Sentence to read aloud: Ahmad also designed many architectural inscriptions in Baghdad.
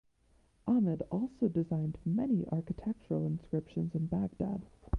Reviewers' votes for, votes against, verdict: 0, 2, rejected